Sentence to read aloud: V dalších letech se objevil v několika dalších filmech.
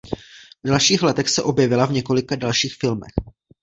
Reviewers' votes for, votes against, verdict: 0, 2, rejected